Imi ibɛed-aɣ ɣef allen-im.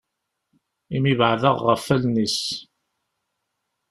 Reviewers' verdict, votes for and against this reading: rejected, 1, 2